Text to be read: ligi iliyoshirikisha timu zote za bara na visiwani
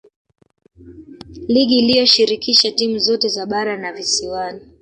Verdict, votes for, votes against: rejected, 0, 2